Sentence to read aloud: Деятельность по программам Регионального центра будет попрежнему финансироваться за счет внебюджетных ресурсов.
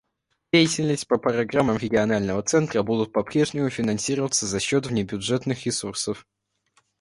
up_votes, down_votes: 2, 1